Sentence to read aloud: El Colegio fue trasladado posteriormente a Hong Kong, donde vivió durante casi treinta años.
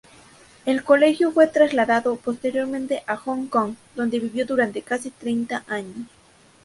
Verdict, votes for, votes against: rejected, 2, 2